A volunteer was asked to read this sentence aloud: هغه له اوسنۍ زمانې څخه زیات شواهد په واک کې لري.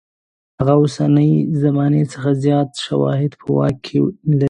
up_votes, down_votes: 4, 0